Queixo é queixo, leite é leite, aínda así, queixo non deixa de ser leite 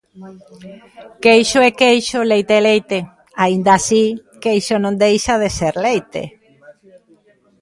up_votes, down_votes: 1, 2